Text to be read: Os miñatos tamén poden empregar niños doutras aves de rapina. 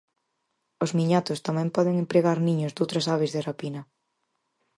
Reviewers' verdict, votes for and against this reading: accepted, 4, 0